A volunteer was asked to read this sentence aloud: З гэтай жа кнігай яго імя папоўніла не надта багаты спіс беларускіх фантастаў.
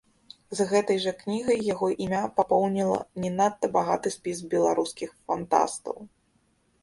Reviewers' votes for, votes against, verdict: 1, 2, rejected